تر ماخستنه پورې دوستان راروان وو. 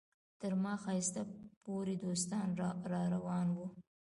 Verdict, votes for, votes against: rejected, 1, 2